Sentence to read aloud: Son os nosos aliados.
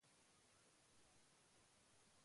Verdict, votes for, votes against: rejected, 1, 2